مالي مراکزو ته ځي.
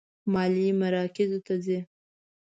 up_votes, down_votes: 2, 0